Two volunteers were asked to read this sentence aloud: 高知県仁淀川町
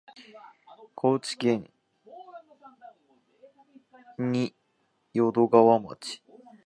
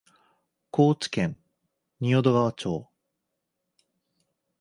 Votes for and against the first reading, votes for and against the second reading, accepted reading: 1, 2, 2, 0, second